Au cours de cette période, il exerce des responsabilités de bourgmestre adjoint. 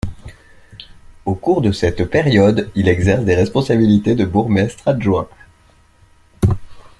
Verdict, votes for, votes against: accepted, 2, 0